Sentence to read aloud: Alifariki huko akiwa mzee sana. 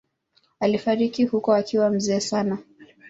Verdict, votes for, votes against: accepted, 2, 0